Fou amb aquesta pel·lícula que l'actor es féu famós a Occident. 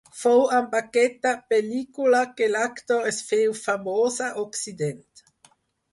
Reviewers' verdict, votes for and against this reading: accepted, 4, 0